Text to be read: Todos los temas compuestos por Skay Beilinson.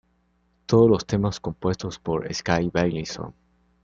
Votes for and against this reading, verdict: 2, 0, accepted